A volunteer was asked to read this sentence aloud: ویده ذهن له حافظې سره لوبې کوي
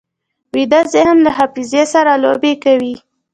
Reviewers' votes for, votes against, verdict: 2, 1, accepted